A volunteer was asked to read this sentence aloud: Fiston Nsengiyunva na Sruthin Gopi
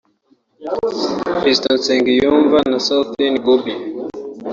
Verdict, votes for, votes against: rejected, 2, 3